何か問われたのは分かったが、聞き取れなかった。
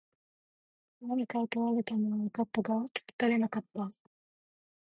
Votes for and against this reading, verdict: 2, 1, accepted